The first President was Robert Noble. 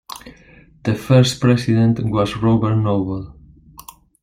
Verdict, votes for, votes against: accepted, 2, 0